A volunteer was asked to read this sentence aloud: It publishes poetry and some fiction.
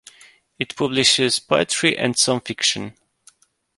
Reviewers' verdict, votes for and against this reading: accepted, 2, 0